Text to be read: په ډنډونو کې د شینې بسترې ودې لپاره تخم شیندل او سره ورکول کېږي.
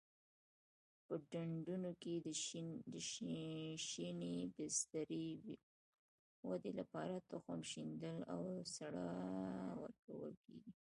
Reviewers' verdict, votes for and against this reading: rejected, 0, 2